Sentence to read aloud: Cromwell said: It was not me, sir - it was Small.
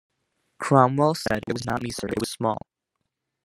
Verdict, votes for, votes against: rejected, 1, 2